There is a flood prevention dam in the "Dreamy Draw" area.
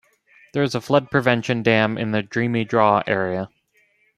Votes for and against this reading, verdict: 2, 0, accepted